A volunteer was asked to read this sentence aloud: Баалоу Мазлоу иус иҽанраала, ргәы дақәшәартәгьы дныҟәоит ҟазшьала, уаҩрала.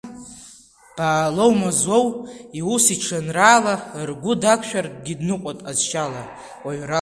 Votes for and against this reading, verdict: 2, 1, accepted